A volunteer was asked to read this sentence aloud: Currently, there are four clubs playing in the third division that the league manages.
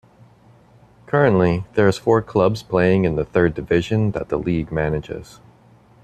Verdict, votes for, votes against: rejected, 1, 2